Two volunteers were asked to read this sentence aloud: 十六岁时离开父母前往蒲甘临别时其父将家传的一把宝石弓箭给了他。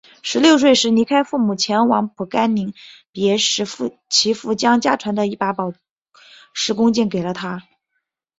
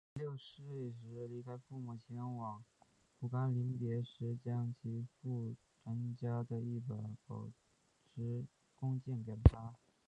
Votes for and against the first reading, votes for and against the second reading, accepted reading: 4, 1, 0, 4, first